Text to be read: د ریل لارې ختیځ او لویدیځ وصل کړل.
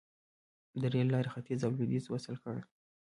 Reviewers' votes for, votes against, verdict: 1, 2, rejected